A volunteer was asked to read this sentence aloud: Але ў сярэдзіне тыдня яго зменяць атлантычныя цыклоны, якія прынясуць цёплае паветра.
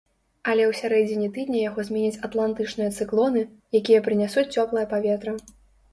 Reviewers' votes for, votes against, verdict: 2, 0, accepted